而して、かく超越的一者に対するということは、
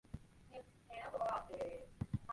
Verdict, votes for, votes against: rejected, 0, 2